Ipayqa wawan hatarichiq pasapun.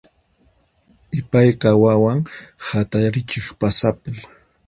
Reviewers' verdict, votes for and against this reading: accepted, 4, 0